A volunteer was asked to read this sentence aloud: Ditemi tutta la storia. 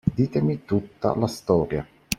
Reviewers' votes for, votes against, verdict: 2, 0, accepted